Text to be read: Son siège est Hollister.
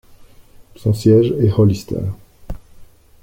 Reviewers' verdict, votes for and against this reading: accepted, 2, 0